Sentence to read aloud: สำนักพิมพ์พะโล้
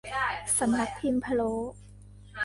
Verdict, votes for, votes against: rejected, 0, 2